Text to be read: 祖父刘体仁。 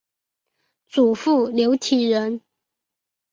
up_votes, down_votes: 4, 0